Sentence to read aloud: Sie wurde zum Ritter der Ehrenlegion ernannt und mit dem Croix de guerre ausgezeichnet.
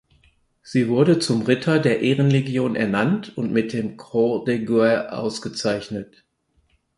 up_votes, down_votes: 0, 4